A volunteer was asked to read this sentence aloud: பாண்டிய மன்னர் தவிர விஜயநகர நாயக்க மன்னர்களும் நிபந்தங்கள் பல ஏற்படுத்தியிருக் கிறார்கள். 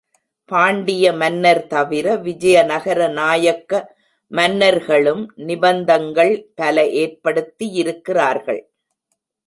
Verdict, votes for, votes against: accepted, 2, 0